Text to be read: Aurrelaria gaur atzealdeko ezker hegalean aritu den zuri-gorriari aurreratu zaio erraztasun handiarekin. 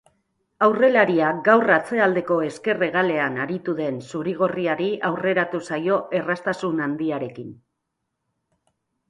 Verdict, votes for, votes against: accepted, 2, 0